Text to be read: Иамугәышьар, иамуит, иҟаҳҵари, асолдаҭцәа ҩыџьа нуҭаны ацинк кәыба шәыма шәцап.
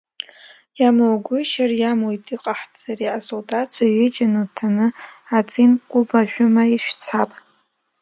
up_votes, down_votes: 2, 0